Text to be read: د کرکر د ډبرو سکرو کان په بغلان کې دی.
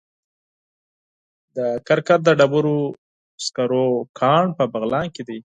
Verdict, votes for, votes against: accepted, 4, 0